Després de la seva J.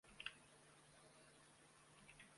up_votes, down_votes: 0, 2